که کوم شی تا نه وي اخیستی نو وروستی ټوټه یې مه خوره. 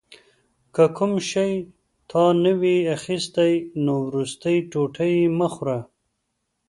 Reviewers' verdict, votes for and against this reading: accepted, 2, 0